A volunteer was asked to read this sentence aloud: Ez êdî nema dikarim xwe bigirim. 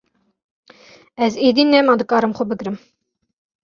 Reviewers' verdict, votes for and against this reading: accepted, 2, 0